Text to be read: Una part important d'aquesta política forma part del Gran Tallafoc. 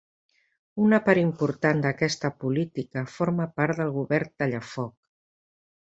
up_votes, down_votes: 0, 2